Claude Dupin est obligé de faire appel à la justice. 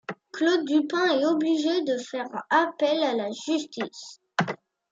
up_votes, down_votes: 2, 1